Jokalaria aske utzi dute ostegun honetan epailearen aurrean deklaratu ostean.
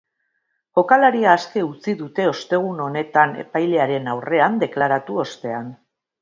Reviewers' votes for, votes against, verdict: 2, 0, accepted